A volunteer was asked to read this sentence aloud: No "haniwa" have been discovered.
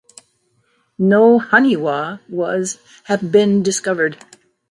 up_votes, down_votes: 0, 2